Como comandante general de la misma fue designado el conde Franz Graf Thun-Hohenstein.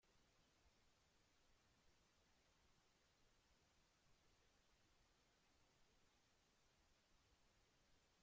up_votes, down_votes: 0, 2